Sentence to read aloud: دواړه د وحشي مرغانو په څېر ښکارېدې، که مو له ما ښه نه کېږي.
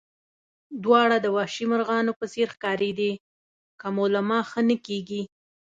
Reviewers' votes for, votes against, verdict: 2, 0, accepted